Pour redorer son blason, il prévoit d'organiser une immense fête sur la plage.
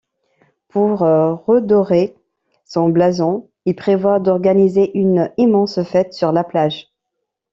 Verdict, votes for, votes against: rejected, 0, 2